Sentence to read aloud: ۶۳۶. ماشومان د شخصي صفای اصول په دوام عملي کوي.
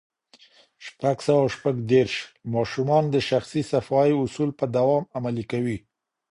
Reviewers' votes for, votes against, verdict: 0, 2, rejected